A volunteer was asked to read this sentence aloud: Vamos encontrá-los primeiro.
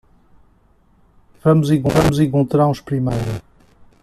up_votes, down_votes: 0, 2